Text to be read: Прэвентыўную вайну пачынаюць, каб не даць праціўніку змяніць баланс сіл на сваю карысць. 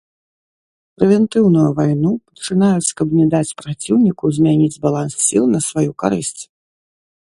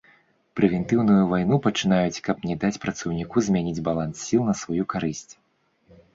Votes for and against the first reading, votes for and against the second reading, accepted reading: 2, 0, 0, 2, first